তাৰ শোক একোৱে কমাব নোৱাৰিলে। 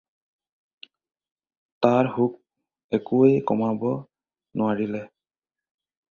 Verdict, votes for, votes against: accepted, 4, 0